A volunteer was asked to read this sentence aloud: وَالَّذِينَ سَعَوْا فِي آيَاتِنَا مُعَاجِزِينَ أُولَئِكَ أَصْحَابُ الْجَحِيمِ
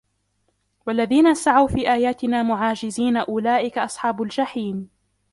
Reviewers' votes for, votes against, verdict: 2, 1, accepted